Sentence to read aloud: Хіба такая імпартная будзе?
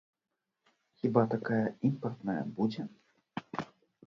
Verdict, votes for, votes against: rejected, 0, 2